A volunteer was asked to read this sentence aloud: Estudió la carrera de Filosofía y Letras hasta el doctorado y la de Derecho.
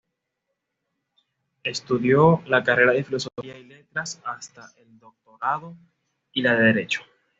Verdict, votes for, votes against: rejected, 1, 2